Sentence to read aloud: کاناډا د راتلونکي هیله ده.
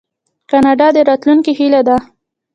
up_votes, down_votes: 1, 3